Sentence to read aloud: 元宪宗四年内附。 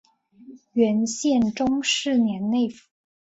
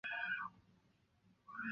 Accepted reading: first